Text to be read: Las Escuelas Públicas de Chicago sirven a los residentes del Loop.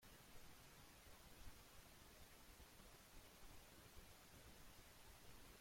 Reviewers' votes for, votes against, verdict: 0, 2, rejected